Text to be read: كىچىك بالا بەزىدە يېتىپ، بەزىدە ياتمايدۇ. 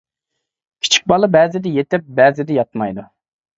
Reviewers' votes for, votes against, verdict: 2, 0, accepted